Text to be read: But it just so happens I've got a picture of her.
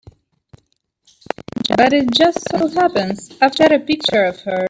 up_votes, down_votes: 2, 1